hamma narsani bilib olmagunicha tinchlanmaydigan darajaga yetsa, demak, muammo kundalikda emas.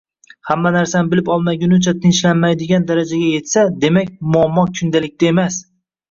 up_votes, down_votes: 0, 2